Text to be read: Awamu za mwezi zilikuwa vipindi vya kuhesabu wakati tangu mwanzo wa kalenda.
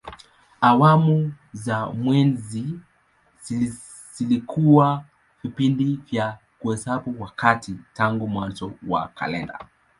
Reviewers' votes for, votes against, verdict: 2, 0, accepted